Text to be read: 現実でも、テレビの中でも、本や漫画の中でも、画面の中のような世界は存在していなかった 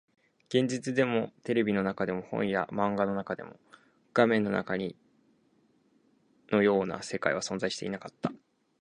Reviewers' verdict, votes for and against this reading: rejected, 0, 4